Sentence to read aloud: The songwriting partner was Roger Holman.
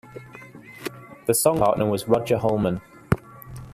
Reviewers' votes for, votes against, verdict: 1, 2, rejected